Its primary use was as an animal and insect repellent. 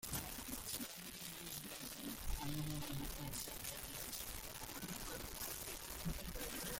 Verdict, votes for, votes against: rejected, 0, 2